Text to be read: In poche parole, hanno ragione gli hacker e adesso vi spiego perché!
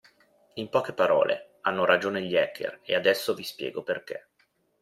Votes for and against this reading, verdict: 0, 2, rejected